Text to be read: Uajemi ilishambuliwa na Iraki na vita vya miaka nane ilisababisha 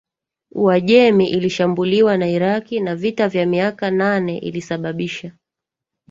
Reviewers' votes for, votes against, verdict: 1, 2, rejected